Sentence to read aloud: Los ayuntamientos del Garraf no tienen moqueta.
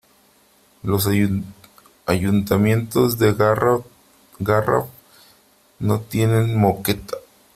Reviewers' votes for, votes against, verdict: 0, 3, rejected